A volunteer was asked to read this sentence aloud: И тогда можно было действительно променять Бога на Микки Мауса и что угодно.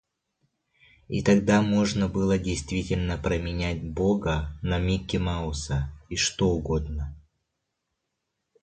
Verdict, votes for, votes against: rejected, 1, 2